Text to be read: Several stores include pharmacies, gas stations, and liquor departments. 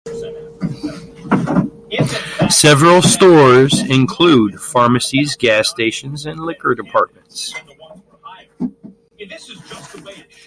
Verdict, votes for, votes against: rejected, 0, 2